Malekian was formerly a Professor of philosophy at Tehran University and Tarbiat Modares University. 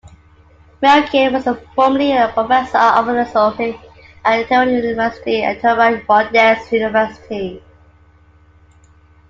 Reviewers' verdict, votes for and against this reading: rejected, 1, 2